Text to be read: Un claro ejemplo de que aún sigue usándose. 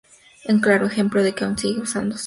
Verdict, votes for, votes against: accepted, 2, 0